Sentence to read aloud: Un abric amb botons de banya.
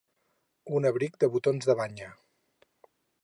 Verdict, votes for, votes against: rejected, 2, 4